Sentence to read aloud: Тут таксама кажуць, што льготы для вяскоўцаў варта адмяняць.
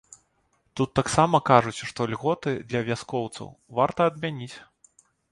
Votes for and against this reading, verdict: 0, 2, rejected